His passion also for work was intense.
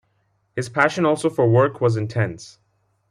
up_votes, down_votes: 2, 0